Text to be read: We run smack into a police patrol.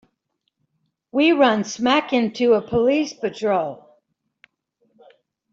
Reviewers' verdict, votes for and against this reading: accepted, 2, 0